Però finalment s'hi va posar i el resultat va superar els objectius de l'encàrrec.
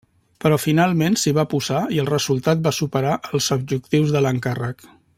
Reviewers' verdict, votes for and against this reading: accepted, 3, 0